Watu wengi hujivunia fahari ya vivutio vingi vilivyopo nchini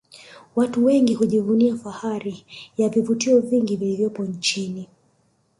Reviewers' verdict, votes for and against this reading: accepted, 2, 0